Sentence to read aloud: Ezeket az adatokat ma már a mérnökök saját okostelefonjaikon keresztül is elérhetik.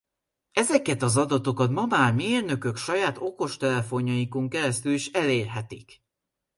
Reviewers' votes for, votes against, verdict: 0, 2, rejected